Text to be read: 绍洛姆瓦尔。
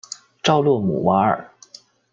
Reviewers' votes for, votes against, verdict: 2, 1, accepted